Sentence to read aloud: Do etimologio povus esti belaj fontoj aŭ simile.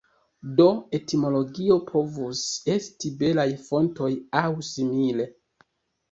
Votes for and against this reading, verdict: 1, 2, rejected